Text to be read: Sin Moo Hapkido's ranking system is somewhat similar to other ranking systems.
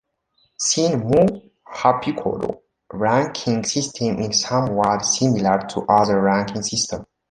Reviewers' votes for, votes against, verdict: 1, 2, rejected